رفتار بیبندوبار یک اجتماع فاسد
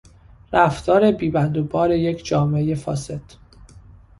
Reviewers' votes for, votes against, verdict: 0, 2, rejected